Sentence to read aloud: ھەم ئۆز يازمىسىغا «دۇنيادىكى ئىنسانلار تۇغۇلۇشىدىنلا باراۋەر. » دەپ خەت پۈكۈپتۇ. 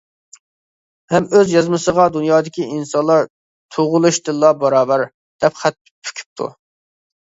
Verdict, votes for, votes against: accepted, 2, 0